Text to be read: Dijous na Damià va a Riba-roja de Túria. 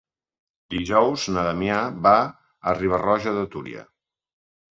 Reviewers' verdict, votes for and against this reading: accepted, 3, 0